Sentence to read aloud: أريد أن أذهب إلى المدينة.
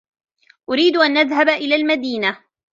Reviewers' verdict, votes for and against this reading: rejected, 1, 2